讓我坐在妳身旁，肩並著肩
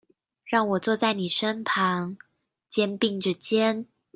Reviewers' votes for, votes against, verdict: 2, 0, accepted